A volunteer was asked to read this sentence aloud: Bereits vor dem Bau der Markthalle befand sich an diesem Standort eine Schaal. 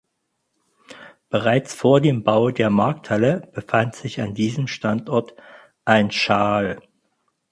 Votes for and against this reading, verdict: 0, 4, rejected